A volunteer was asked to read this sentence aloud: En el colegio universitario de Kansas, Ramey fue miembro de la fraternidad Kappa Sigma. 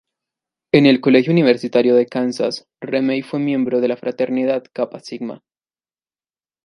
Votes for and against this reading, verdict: 1, 2, rejected